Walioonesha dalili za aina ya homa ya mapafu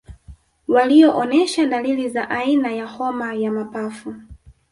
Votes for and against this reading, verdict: 2, 0, accepted